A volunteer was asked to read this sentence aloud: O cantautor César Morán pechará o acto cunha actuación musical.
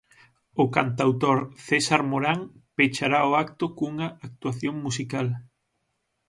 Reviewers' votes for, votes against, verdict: 6, 0, accepted